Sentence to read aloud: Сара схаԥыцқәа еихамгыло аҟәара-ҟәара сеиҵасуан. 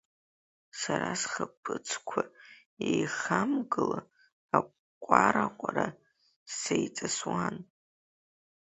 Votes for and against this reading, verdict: 2, 0, accepted